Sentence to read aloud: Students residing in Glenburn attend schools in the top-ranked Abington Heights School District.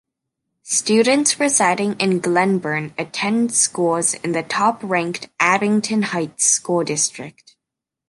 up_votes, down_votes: 2, 0